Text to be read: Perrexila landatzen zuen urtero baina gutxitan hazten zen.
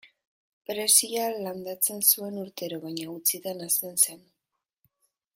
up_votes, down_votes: 2, 0